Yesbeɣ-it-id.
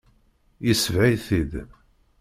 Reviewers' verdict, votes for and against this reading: rejected, 1, 2